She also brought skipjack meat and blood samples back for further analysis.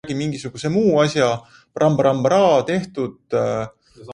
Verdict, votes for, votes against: rejected, 0, 2